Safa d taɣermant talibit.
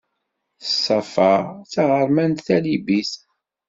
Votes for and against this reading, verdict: 2, 0, accepted